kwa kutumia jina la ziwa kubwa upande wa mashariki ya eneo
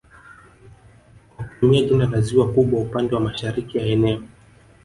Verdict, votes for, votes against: rejected, 0, 2